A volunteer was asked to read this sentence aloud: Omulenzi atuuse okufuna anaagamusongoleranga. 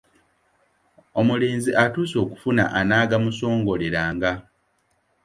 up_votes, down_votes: 2, 0